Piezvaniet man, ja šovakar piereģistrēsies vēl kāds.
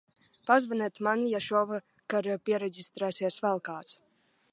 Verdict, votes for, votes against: rejected, 0, 2